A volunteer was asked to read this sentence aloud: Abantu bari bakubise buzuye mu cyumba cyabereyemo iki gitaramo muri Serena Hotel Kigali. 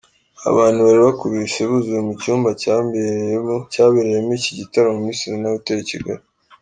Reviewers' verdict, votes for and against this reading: rejected, 0, 2